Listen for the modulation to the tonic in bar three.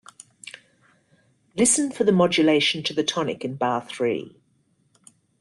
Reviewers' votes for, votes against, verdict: 2, 0, accepted